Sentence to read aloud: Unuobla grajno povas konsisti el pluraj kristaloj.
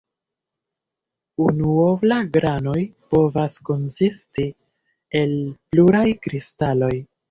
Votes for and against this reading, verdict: 1, 2, rejected